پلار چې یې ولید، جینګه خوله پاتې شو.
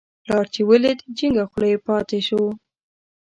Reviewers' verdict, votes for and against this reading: rejected, 1, 2